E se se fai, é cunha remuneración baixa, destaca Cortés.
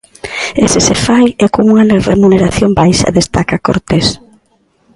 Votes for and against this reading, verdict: 0, 2, rejected